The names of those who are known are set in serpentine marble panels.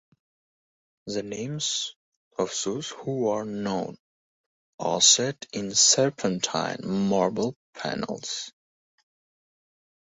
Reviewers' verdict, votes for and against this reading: accepted, 2, 0